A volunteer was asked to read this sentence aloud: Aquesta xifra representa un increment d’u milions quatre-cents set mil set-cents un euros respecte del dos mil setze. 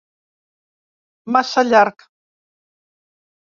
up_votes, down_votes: 0, 2